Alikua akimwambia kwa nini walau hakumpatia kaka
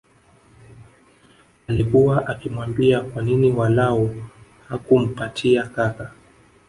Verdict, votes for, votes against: accepted, 2, 0